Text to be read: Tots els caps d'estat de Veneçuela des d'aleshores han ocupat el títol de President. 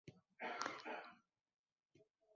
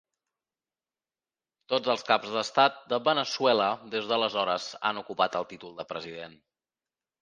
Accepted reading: second